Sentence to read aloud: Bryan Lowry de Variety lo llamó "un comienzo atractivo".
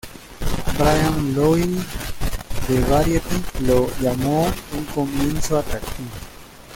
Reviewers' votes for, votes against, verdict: 0, 2, rejected